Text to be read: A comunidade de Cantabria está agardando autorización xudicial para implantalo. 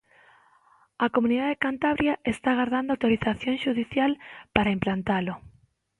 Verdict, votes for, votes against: accepted, 2, 0